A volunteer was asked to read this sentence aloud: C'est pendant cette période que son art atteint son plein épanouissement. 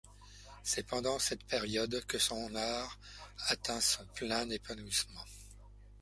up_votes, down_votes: 2, 1